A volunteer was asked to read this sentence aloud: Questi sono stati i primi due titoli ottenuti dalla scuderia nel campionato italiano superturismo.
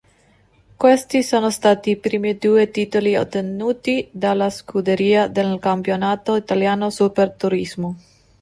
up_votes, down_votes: 1, 2